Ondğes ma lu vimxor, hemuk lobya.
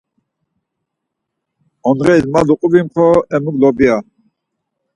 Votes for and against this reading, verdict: 4, 0, accepted